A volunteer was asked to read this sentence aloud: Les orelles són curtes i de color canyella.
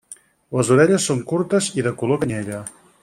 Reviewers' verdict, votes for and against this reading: accepted, 4, 0